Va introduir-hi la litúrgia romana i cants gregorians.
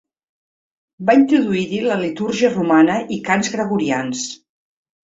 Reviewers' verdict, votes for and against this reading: accepted, 2, 0